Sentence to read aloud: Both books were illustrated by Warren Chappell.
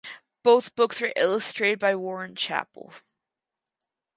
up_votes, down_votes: 0, 4